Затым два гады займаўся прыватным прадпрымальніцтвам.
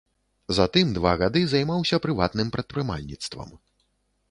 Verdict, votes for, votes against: accepted, 2, 0